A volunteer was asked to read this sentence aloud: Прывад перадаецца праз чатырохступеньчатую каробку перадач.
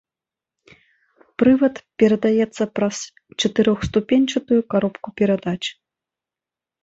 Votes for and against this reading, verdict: 1, 2, rejected